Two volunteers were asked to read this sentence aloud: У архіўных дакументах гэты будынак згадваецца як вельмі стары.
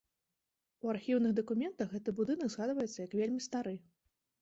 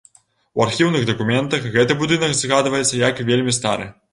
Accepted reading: first